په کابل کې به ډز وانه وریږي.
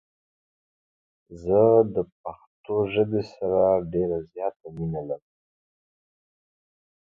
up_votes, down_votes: 0, 3